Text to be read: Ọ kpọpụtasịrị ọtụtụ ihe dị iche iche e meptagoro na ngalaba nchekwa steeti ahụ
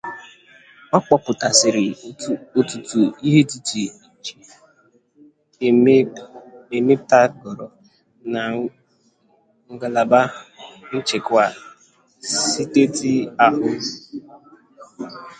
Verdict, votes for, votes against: rejected, 0, 2